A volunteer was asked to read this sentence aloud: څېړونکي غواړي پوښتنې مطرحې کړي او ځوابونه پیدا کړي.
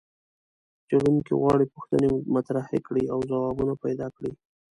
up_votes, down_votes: 2, 0